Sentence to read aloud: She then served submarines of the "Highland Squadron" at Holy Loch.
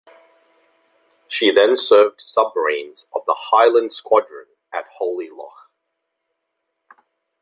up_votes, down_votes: 1, 2